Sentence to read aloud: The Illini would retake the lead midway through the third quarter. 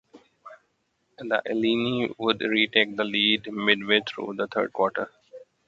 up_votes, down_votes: 2, 1